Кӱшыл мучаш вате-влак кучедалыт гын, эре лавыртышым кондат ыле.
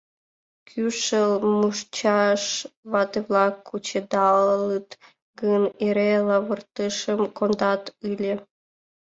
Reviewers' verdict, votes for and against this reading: rejected, 0, 2